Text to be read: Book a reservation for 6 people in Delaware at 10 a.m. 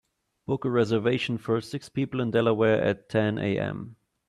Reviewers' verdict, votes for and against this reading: rejected, 0, 2